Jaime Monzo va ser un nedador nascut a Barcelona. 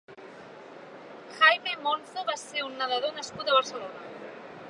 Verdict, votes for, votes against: accepted, 3, 0